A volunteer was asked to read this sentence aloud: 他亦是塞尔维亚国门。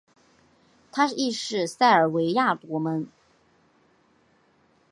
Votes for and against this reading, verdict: 3, 0, accepted